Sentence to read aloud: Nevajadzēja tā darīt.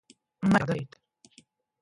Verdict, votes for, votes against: rejected, 0, 2